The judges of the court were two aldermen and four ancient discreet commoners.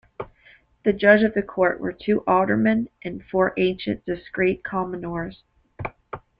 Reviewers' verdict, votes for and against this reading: rejected, 1, 3